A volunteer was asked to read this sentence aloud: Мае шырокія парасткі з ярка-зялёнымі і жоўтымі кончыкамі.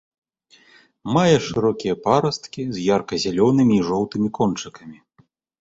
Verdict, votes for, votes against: accepted, 2, 0